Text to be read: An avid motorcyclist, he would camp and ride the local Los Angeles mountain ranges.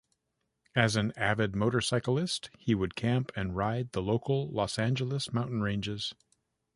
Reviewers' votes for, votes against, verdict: 1, 2, rejected